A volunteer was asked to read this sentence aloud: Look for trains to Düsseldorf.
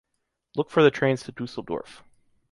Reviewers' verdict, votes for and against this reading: rejected, 1, 2